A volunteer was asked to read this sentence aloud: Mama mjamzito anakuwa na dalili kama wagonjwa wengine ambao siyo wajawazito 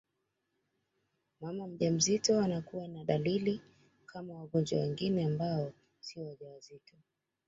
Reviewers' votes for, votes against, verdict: 2, 0, accepted